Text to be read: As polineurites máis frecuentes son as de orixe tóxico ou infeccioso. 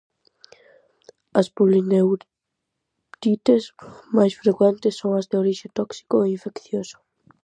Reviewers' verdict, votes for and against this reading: rejected, 0, 4